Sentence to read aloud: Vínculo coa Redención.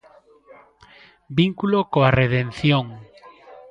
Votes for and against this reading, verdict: 0, 2, rejected